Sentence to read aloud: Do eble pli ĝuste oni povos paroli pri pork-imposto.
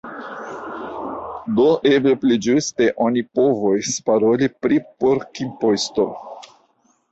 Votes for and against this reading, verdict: 2, 0, accepted